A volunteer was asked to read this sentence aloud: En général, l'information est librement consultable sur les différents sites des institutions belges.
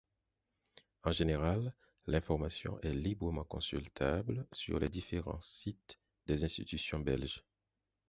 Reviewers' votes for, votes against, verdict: 4, 0, accepted